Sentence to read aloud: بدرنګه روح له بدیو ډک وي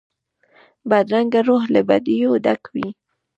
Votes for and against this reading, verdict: 1, 2, rejected